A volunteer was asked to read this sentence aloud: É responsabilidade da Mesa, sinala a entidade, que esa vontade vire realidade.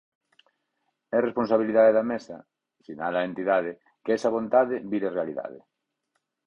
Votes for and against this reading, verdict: 4, 0, accepted